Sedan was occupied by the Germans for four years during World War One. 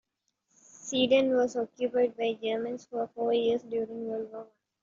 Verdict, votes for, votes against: rejected, 1, 2